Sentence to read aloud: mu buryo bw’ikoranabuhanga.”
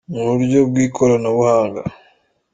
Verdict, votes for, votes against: accepted, 2, 0